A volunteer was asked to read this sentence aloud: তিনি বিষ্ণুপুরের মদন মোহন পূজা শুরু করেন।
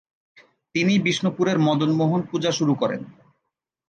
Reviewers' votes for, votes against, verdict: 3, 0, accepted